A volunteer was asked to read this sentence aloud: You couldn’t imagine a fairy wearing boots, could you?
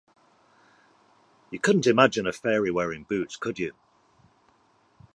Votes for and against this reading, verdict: 2, 0, accepted